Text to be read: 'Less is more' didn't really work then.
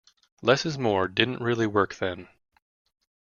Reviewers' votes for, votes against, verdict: 2, 0, accepted